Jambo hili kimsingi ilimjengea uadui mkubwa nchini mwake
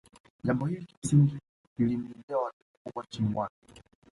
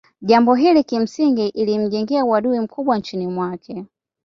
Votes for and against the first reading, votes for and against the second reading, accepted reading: 1, 2, 2, 0, second